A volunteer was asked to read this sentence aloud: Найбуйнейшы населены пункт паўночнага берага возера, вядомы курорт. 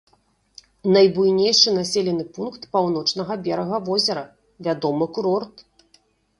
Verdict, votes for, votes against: accepted, 2, 0